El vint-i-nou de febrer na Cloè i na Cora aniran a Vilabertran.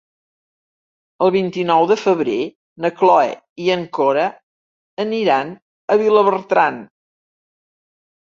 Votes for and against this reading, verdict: 1, 3, rejected